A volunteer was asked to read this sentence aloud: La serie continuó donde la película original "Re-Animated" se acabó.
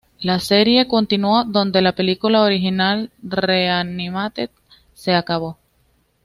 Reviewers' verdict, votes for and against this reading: accepted, 2, 0